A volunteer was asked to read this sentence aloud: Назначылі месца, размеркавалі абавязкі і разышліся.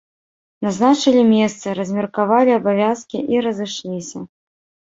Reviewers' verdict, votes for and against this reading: rejected, 0, 2